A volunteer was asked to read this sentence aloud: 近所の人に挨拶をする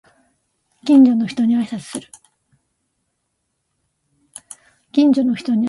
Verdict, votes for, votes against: rejected, 1, 2